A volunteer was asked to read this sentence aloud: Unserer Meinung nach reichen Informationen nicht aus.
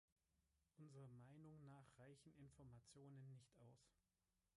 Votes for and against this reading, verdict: 1, 3, rejected